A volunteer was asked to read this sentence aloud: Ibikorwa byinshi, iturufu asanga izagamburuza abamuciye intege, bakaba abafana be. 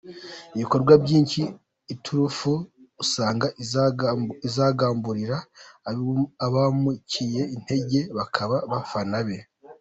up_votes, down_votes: 0, 2